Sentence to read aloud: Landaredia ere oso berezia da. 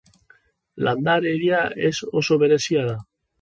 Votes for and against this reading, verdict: 3, 1, accepted